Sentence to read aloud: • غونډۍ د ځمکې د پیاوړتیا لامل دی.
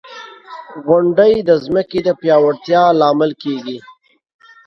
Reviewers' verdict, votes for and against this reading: rejected, 1, 2